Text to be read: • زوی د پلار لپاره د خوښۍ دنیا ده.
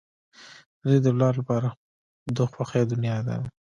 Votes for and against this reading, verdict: 1, 2, rejected